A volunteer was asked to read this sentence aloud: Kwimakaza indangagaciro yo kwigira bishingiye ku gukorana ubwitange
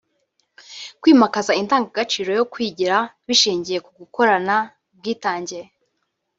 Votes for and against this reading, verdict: 1, 2, rejected